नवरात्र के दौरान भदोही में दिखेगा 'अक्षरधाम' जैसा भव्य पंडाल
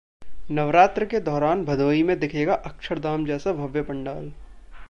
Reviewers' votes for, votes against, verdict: 2, 0, accepted